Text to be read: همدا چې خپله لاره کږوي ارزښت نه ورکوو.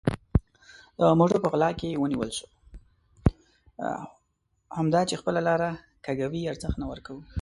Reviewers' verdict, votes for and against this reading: rejected, 1, 2